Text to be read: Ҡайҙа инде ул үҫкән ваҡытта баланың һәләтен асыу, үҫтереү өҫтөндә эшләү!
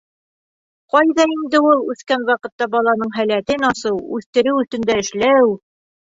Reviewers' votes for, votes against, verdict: 2, 0, accepted